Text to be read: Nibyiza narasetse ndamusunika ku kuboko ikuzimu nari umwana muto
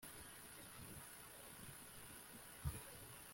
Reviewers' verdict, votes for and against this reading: rejected, 0, 3